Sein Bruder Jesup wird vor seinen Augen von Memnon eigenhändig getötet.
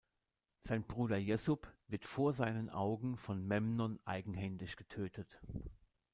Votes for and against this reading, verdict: 2, 0, accepted